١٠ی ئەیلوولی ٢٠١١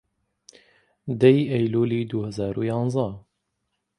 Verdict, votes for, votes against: rejected, 0, 2